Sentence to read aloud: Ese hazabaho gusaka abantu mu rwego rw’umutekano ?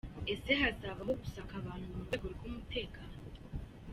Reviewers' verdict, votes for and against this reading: rejected, 1, 2